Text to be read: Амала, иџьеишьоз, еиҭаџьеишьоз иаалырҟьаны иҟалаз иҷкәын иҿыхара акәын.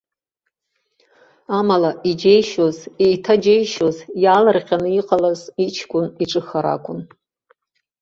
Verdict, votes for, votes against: accepted, 3, 0